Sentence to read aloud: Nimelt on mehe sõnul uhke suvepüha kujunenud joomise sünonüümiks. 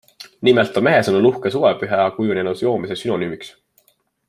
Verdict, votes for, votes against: accepted, 2, 0